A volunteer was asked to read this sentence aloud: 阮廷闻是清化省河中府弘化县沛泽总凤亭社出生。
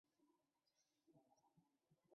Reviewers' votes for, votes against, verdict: 0, 4, rejected